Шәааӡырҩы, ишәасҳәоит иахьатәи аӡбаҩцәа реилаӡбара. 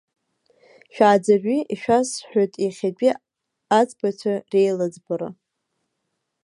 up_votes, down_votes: 0, 2